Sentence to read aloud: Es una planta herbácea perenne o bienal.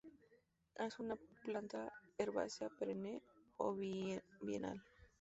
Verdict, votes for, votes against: rejected, 0, 4